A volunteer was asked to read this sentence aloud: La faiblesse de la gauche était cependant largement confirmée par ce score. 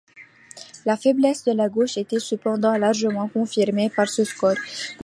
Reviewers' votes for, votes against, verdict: 2, 0, accepted